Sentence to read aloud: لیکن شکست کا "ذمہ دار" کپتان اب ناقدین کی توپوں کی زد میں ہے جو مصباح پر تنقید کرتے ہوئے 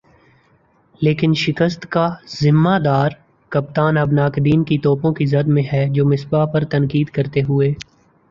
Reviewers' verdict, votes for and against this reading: accepted, 3, 0